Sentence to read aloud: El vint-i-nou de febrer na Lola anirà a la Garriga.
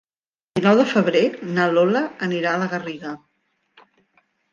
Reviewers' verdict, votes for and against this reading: rejected, 0, 2